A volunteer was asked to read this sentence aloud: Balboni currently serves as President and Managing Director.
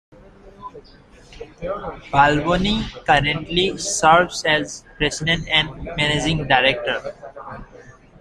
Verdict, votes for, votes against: accepted, 2, 1